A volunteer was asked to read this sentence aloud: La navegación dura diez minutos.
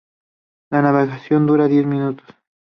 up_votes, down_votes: 2, 0